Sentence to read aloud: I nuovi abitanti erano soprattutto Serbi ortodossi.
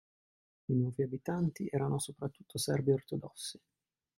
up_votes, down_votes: 1, 2